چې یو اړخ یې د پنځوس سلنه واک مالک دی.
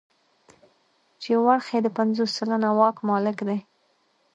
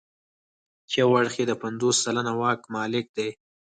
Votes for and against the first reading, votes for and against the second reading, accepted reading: 1, 2, 6, 0, second